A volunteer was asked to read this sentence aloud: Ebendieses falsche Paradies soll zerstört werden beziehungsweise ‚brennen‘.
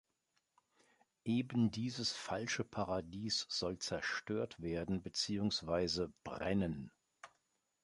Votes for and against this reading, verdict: 3, 1, accepted